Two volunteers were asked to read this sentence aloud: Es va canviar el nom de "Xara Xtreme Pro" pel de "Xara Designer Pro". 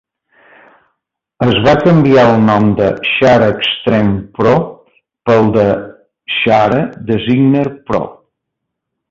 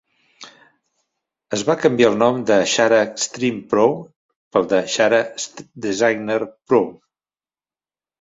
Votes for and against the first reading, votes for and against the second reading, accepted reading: 0, 2, 2, 0, second